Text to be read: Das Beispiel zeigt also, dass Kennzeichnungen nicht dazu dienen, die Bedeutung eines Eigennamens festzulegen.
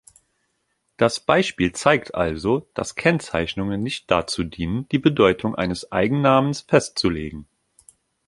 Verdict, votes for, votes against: accepted, 2, 0